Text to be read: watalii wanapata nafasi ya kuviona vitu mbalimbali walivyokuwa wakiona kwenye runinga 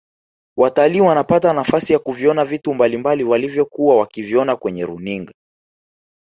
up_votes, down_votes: 0, 2